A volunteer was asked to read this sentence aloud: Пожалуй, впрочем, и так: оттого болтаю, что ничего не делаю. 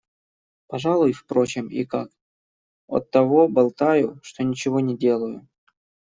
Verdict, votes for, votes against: rejected, 1, 2